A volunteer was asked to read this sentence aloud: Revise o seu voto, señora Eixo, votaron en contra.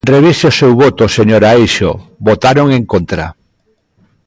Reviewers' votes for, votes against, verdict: 2, 0, accepted